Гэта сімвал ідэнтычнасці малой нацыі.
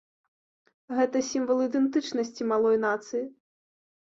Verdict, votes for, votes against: accepted, 2, 0